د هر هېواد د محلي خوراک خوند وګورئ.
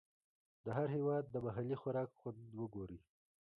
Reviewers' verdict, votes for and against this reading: accepted, 2, 0